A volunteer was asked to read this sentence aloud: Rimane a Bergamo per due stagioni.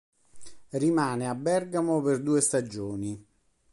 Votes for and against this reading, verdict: 3, 0, accepted